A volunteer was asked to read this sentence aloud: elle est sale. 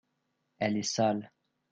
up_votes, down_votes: 2, 0